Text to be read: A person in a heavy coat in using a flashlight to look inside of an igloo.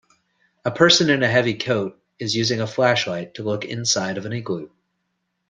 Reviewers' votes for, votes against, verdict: 0, 2, rejected